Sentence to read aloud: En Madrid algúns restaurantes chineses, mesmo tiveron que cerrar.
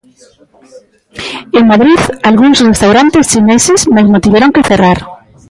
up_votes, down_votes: 0, 2